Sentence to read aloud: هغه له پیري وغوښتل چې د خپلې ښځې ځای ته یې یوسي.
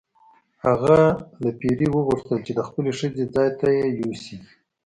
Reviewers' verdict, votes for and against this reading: accepted, 2, 0